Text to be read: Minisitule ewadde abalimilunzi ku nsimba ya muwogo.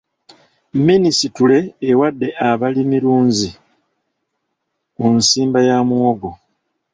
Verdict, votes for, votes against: rejected, 0, 2